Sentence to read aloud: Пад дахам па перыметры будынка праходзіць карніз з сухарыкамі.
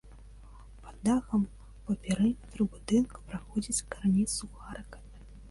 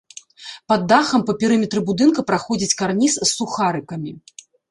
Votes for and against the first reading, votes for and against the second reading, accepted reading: 1, 2, 3, 0, second